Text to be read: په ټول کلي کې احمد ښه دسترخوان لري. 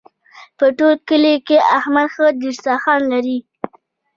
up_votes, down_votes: 2, 1